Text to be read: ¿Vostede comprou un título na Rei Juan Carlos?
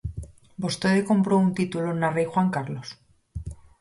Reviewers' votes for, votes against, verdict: 4, 0, accepted